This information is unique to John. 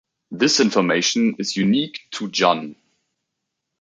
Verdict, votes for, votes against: rejected, 1, 2